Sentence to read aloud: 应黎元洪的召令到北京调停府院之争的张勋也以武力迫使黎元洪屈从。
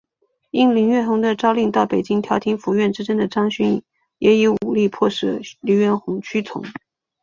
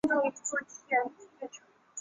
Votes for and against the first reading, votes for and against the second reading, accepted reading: 2, 0, 0, 2, first